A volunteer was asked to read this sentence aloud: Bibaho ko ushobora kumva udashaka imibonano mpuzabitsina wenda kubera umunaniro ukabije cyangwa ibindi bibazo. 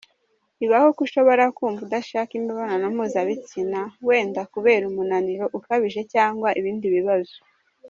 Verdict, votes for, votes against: rejected, 1, 2